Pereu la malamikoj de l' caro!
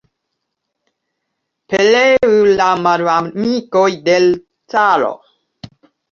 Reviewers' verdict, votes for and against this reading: rejected, 0, 2